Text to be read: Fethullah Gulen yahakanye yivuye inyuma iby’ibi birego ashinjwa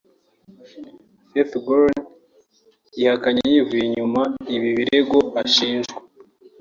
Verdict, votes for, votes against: accepted, 2, 1